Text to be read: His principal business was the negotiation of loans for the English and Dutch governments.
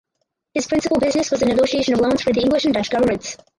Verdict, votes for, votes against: rejected, 2, 4